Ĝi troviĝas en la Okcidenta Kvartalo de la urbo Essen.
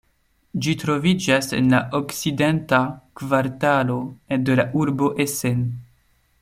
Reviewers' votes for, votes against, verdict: 2, 1, accepted